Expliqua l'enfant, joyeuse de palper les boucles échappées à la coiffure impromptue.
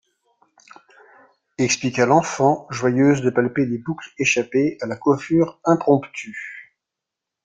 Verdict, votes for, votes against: accepted, 2, 0